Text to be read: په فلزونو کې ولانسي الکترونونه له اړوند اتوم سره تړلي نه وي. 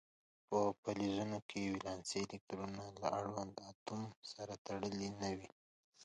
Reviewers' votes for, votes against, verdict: 2, 1, accepted